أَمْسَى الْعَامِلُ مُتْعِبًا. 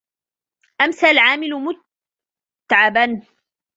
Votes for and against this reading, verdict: 0, 2, rejected